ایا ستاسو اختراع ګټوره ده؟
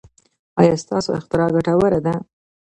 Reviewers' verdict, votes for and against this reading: rejected, 1, 2